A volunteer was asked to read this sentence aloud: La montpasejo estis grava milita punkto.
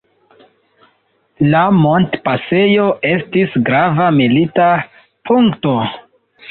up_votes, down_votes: 1, 2